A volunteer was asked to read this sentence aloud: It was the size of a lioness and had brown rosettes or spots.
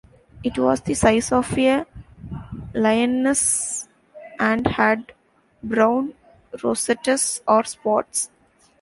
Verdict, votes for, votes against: rejected, 0, 2